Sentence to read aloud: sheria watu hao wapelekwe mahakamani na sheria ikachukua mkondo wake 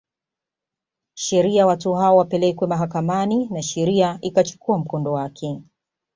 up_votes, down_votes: 2, 0